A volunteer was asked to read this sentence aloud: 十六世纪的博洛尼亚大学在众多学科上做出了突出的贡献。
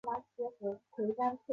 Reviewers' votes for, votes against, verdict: 0, 2, rejected